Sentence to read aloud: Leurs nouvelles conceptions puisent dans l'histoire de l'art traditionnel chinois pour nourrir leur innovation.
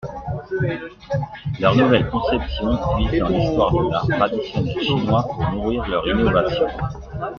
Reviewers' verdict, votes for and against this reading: rejected, 0, 2